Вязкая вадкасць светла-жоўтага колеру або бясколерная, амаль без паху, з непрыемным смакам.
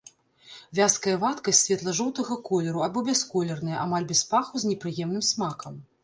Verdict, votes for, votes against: rejected, 1, 2